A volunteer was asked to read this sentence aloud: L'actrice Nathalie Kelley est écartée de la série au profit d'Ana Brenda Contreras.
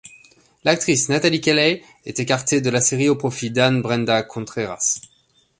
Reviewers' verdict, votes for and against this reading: rejected, 0, 2